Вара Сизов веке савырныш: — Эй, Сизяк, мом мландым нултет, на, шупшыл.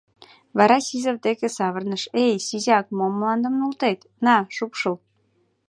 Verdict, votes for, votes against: rejected, 1, 2